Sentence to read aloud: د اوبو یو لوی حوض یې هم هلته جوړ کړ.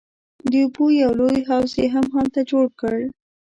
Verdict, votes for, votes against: accepted, 2, 1